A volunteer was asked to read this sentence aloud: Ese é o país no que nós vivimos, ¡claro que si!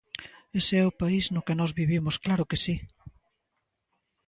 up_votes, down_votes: 2, 0